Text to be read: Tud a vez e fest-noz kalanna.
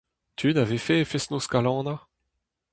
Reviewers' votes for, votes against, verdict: 0, 4, rejected